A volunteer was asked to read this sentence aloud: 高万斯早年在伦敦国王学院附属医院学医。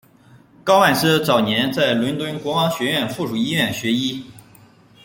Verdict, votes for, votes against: accepted, 2, 1